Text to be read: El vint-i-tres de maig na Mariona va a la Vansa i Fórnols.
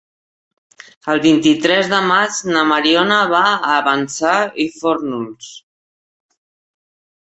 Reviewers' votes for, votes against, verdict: 1, 2, rejected